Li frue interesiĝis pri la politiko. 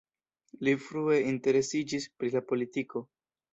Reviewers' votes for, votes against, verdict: 0, 2, rejected